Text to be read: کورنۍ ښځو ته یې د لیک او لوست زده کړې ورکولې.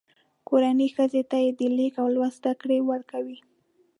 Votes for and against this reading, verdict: 0, 2, rejected